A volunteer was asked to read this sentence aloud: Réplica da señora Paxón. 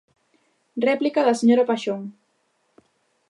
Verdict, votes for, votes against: accepted, 2, 0